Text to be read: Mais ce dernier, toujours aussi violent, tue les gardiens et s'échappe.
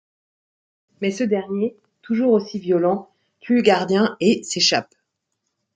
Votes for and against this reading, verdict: 0, 2, rejected